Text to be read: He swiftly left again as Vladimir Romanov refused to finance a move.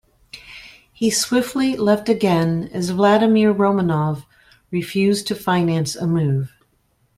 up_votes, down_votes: 2, 0